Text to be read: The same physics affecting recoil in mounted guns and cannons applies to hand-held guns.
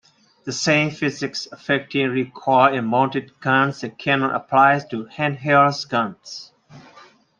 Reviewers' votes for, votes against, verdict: 0, 2, rejected